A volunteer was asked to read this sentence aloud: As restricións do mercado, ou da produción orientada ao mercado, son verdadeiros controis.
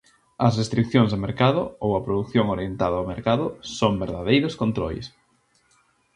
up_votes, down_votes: 0, 2